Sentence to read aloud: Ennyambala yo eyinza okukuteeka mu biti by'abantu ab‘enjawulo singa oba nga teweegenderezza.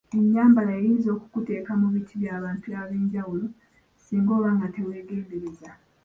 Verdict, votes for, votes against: accepted, 2, 1